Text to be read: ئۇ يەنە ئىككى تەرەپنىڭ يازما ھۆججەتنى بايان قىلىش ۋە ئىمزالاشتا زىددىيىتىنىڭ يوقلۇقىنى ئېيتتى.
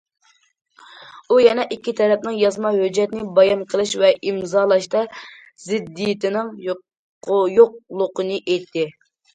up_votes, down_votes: 0, 2